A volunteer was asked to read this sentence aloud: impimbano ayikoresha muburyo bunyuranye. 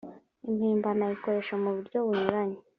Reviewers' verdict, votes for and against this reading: accepted, 2, 0